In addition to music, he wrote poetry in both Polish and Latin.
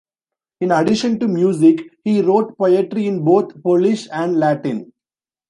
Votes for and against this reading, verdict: 0, 2, rejected